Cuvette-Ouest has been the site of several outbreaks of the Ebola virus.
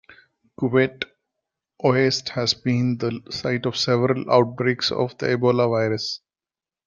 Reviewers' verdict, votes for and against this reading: rejected, 1, 2